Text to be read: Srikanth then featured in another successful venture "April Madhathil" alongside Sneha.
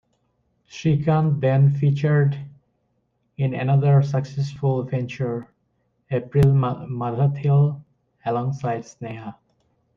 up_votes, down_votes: 0, 2